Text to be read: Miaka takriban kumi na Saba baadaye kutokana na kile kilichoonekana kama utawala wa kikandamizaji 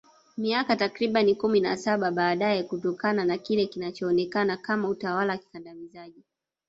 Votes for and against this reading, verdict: 0, 2, rejected